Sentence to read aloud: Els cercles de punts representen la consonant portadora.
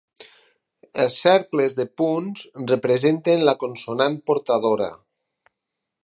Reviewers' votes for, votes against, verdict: 6, 0, accepted